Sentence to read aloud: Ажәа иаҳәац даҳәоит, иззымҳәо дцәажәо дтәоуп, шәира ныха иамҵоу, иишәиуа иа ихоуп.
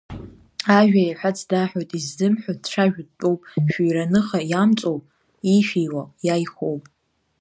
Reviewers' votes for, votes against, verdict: 0, 2, rejected